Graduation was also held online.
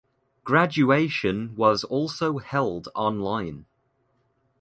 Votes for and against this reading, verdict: 2, 0, accepted